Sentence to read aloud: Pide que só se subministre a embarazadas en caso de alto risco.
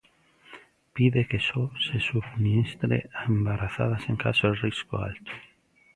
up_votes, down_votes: 0, 3